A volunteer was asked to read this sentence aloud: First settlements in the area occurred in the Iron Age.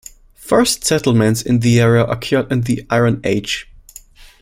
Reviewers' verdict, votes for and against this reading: rejected, 0, 2